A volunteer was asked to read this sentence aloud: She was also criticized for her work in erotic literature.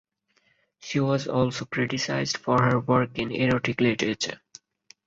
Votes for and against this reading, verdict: 4, 0, accepted